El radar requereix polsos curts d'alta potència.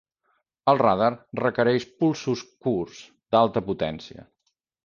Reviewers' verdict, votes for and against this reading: rejected, 0, 2